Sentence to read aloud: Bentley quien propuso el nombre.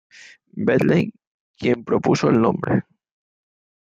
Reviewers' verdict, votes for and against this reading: accepted, 2, 1